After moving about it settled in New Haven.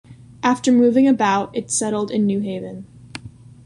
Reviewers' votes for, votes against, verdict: 2, 0, accepted